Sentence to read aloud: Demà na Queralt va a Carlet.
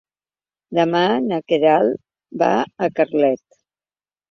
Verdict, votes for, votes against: accepted, 2, 0